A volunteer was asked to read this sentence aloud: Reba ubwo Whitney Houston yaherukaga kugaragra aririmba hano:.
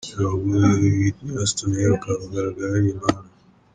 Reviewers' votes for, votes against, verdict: 0, 2, rejected